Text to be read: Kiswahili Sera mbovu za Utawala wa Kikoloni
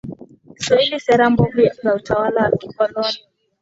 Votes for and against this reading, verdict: 0, 2, rejected